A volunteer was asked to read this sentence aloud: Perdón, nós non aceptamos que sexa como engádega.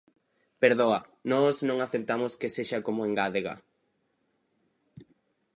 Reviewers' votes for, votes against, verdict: 0, 4, rejected